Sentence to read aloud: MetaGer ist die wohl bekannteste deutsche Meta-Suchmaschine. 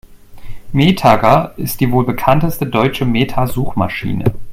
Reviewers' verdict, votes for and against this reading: rejected, 0, 2